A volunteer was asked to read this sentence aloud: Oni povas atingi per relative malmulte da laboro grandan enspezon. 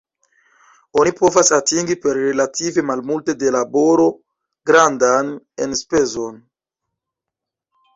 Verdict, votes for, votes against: rejected, 0, 2